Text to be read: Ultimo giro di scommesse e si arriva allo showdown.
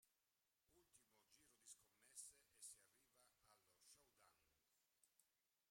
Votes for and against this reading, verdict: 0, 2, rejected